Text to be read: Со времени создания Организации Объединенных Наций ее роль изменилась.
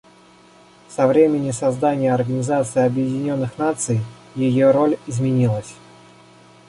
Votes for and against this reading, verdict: 2, 0, accepted